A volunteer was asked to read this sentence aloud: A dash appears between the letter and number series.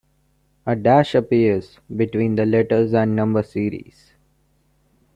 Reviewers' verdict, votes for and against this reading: rejected, 0, 2